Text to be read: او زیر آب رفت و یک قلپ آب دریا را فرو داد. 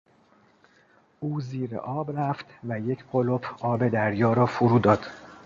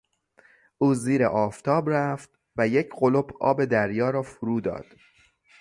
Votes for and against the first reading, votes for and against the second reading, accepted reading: 3, 0, 0, 3, first